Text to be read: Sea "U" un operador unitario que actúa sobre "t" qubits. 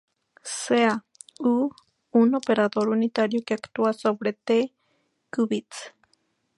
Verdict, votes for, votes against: accepted, 2, 0